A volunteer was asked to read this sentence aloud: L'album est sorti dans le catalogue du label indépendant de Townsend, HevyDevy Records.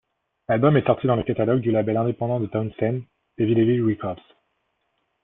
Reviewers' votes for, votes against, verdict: 0, 2, rejected